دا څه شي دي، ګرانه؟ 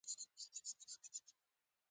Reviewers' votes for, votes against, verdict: 0, 2, rejected